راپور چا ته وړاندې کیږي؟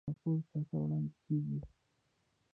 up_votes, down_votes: 1, 2